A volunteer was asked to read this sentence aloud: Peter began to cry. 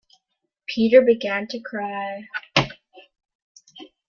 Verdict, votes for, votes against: accepted, 2, 0